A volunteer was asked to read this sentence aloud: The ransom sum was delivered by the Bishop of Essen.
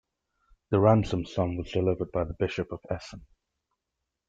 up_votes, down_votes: 2, 1